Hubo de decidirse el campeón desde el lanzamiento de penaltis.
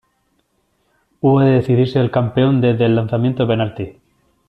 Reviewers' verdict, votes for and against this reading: rejected, 1, 2